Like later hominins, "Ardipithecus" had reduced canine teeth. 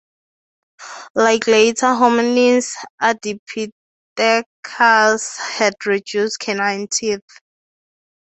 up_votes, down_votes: 2, 0